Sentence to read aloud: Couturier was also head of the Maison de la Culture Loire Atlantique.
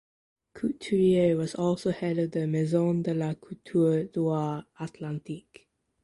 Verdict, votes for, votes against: rejected, 1, 2